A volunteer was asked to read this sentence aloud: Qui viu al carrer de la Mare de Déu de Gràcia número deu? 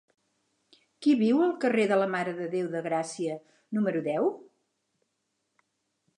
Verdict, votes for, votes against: accepted, 6, 0